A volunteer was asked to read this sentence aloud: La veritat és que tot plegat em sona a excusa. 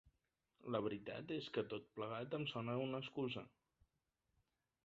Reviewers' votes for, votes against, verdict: 3, 0, accepted